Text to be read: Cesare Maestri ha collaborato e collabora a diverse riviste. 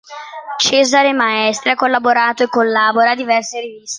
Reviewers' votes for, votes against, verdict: 0, 2, rejected